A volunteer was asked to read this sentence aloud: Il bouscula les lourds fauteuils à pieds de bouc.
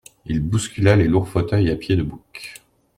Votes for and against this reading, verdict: 2, 0, accepted